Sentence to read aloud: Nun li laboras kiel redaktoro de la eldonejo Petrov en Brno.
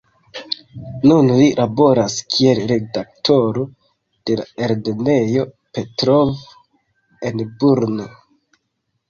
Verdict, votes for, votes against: rejected, 1, 2